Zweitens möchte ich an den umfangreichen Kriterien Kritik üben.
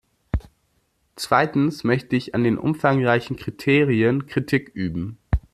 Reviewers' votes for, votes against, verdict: 2, 0, accepted